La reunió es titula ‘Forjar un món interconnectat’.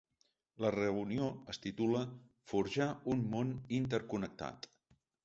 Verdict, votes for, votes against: accepted, 2, 0